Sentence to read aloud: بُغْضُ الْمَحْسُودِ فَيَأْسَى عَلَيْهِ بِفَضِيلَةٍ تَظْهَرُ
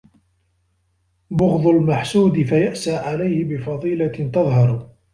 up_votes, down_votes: 1, 2